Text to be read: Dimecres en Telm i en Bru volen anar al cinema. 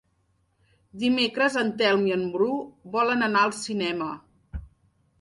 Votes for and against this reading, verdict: 3, 0, accepted